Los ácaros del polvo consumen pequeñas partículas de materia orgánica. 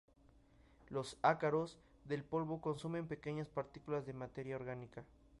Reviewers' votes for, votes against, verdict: 2, 0, accepted